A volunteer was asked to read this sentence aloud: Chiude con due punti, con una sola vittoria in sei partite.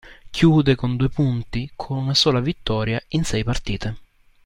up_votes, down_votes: 2, 1